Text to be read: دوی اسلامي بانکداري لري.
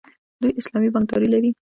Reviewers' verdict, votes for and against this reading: rejected, 1, 2